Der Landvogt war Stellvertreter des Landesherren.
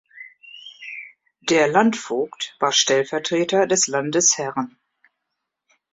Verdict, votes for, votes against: accepted, 2, 0